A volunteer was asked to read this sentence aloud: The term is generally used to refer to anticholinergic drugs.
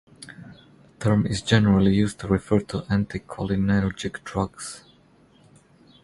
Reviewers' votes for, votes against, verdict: 2, 0, accepted